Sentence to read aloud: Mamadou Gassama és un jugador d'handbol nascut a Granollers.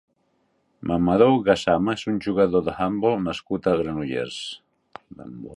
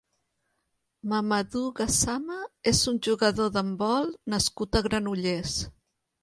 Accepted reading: second